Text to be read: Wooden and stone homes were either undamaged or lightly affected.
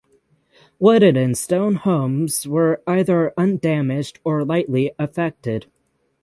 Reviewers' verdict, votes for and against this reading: accepted, 6, 0